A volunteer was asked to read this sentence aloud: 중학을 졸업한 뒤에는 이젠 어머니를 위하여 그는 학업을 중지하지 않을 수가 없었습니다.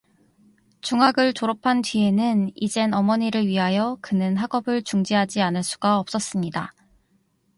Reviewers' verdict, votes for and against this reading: rejected, 2, 2